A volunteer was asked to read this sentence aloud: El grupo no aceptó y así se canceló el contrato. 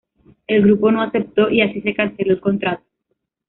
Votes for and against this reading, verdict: 2, 1, accepted